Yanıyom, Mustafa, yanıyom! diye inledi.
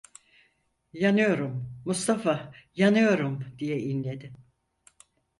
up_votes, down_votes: 0, 4